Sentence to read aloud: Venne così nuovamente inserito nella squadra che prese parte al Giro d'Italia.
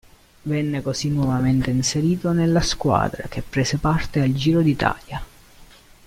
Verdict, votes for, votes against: accepted, 2, 0